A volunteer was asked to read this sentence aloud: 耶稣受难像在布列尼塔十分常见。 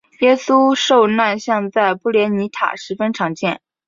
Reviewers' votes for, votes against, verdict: 3, 0, accepted